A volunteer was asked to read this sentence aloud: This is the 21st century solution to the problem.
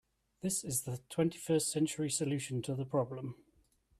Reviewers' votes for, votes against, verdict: 0, 2, rejected